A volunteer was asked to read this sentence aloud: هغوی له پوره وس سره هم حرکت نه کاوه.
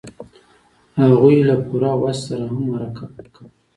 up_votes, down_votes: 1, 2